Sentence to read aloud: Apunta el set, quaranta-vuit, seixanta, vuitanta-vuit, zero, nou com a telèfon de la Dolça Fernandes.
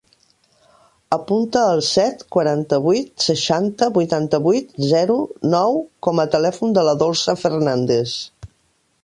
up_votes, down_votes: 2, 1